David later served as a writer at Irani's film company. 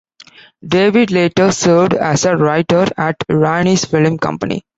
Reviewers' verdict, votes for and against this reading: accepted, 2, 0